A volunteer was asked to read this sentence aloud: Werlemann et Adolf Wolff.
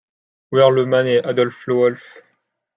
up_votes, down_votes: 1, 2